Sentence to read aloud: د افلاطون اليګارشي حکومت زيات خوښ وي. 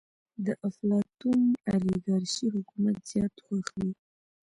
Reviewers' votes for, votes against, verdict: 2, 0, accepted